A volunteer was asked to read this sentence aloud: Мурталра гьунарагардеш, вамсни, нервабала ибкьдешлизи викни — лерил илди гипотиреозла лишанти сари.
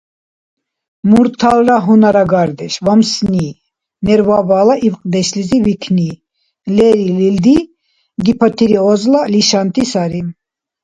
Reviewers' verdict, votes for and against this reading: accepted, 2, 0